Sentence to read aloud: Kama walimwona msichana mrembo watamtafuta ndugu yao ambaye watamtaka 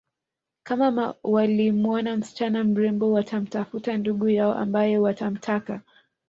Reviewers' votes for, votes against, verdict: 1, 4, rejected